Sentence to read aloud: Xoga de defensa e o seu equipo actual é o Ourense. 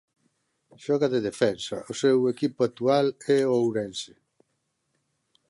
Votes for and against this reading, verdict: 0, 2, rejected